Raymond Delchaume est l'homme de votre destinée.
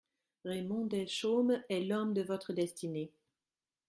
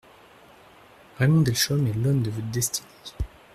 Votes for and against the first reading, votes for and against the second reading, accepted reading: 2, 0, 1, 2, first